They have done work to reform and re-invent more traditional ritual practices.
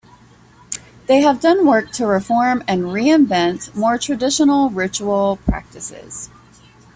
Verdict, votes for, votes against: accepted, 2, 0